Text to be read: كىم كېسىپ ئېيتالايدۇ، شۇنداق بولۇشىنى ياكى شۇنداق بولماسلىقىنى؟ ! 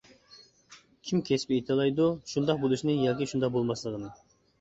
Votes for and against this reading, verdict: 1, 2, rejected